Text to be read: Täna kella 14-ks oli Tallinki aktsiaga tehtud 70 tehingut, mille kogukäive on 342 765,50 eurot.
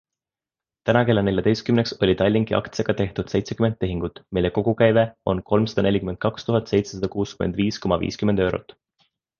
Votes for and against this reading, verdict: 0, 2, rejected